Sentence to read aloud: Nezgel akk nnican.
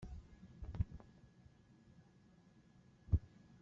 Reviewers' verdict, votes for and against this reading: rejected, 1, 2